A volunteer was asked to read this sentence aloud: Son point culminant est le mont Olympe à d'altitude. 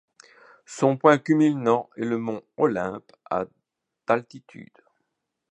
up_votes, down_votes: 0, 2